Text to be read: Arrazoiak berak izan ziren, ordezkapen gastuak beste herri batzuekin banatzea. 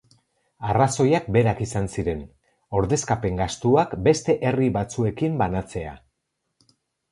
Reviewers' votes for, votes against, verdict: 4, 0, accepted